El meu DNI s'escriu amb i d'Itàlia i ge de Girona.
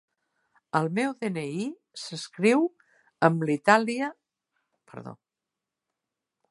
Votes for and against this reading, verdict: 0, 3, rejected